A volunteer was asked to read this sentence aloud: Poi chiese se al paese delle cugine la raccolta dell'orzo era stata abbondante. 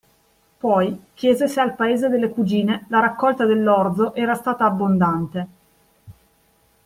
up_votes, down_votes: 2, 0